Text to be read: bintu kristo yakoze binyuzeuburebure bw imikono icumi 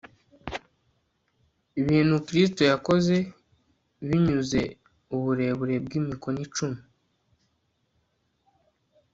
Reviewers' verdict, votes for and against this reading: rejected, 0, 2